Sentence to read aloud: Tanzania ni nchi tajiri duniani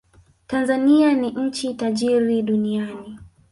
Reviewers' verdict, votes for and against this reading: accepted, 3, 1